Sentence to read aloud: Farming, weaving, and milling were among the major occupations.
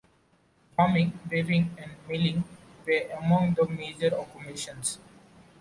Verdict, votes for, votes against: accepted, 2, 0